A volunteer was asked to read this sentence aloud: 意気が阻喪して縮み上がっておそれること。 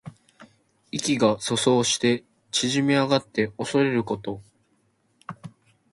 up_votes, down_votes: 2, 1